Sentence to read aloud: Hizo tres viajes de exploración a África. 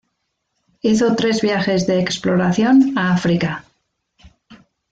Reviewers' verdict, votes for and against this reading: accepted, 2, 0